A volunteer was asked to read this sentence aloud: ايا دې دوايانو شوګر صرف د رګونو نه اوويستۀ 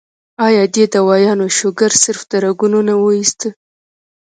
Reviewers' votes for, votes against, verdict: 1, 2, rejected